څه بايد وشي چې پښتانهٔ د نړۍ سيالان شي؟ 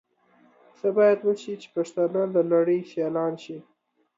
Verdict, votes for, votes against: accepted, 2, 1